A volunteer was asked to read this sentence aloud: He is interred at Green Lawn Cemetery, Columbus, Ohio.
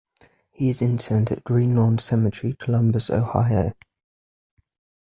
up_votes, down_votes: 1, 2